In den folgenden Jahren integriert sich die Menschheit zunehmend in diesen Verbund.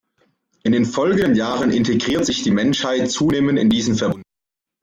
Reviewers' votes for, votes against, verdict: 0, 2, rejected